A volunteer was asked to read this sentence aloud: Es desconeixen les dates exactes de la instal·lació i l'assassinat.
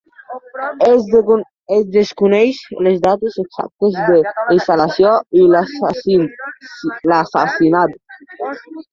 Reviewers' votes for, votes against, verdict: 0, 2, rejected